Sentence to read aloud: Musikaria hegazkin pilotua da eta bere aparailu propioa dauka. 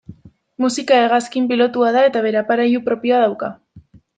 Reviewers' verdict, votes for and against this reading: rejected, 1, 2